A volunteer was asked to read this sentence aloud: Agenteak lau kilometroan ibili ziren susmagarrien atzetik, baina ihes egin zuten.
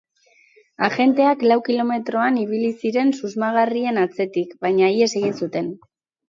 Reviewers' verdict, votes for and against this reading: rejected, 2, 2